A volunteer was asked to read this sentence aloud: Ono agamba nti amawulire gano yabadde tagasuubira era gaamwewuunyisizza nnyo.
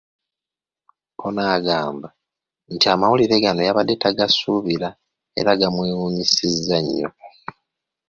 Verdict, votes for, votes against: accepted, 2, 1